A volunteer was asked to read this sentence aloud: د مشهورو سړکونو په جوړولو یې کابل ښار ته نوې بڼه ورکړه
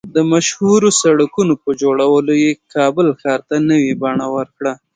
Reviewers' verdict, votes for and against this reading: accepted, 2, 0